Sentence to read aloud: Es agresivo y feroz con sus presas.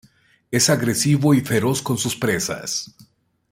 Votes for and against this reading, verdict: 2, 0, accepted